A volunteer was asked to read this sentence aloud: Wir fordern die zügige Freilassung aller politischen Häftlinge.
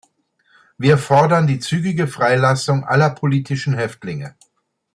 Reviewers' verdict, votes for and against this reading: accepted, 2, 0